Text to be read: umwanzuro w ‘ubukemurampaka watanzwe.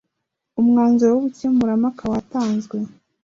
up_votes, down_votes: 2, 0